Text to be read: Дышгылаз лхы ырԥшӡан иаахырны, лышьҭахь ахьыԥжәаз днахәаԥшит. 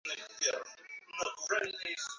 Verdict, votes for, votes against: rejected, 0, 2